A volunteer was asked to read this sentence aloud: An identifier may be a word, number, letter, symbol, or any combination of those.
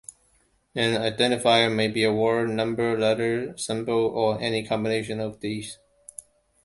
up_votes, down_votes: 0, 3